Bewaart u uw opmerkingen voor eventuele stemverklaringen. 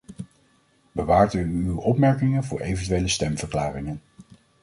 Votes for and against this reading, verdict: 2, 0, accepted